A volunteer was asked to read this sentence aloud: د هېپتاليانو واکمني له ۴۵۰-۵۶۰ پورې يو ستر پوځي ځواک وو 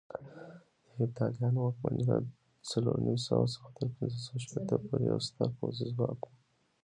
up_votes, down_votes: 0, 2